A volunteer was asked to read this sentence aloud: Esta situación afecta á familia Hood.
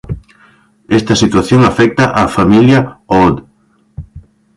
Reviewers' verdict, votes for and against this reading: rejected, 1, 2